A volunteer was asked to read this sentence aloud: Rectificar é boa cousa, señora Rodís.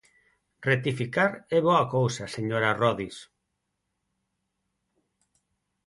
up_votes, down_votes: 2, 8